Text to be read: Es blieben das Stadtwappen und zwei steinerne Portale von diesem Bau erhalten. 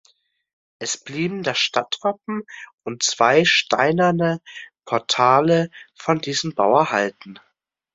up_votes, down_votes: 2, 0